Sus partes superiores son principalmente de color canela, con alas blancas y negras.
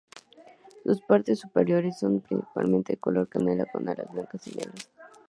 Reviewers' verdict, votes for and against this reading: rejected, 0, 4